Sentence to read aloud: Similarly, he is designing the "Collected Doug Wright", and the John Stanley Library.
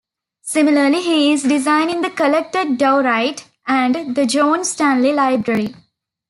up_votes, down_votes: 0, 2